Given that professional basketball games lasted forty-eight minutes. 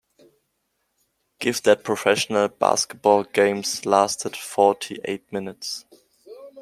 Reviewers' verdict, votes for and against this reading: rejected, 1, 2